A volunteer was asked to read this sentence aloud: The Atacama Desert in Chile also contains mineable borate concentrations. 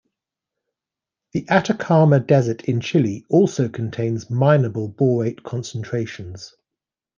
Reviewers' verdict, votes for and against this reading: accepted, 2, 0